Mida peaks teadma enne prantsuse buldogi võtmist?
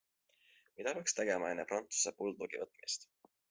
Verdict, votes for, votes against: accepted, 4, 2